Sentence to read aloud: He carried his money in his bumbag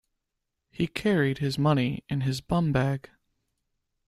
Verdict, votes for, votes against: accepted, 2, 0